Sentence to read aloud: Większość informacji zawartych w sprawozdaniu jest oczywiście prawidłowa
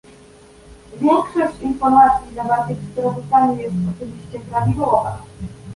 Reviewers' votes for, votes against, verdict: 1, 2, rejected